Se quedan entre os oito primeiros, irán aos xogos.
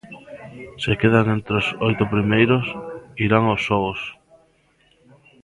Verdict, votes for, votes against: accepted, 2, 0